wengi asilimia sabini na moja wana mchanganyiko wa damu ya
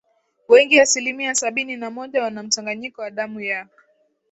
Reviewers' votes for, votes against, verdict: 1, 2, rejected